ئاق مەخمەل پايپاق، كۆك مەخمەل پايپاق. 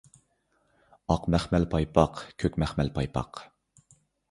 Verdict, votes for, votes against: accepted, 2, 0